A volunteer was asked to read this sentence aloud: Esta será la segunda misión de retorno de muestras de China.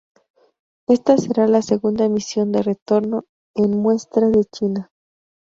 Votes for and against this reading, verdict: 0, 2, rejected